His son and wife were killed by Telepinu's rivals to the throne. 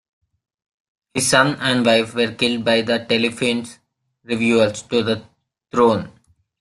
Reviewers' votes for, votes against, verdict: 0, 2, rejected